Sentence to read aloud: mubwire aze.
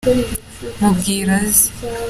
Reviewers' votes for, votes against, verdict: 2, 0, accepted